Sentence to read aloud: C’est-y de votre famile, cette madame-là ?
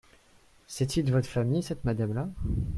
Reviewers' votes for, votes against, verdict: 4, 0, accepted